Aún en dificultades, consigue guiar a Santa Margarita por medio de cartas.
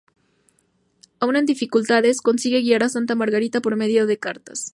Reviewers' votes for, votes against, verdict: 2, 0, accepted